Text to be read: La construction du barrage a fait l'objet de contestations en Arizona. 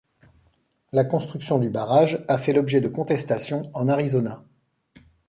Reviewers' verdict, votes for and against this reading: accepted, 2, 0